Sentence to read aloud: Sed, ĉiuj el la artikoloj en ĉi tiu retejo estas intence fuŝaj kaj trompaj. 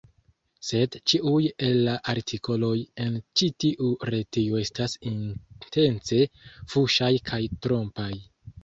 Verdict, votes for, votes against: rejected, 1, 2